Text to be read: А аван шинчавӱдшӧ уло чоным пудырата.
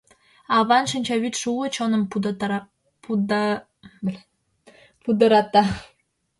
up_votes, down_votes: 0, 2